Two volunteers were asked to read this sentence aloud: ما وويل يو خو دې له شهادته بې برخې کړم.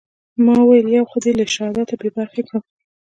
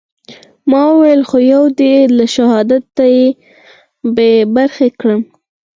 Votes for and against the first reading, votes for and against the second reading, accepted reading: 1, 2, 4, 0, second